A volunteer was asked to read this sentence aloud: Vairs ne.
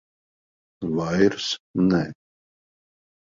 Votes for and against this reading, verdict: 0, 2, rejected